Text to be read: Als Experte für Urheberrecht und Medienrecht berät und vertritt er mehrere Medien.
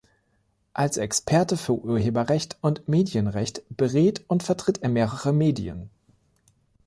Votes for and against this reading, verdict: 3, 0, accepted